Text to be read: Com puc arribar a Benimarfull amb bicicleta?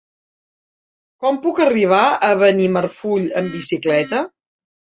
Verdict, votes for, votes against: rejected, 0, 2